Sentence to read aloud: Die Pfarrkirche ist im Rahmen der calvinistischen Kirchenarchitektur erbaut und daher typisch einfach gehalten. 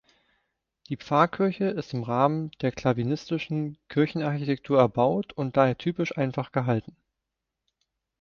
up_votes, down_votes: 0, 2